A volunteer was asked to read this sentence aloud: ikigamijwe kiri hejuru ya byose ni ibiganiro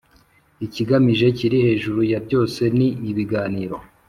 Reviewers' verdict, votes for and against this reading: accepted, 4, 0